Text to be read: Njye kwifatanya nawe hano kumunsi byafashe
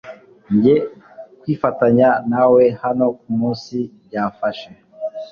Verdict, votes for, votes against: accepted, 2, 0